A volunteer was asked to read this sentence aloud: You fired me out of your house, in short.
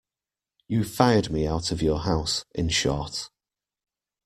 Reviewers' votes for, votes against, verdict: 2, 0, accepted